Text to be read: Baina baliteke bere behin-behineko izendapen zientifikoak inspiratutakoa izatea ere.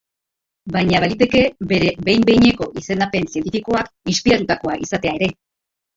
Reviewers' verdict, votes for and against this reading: accepted, 2, 0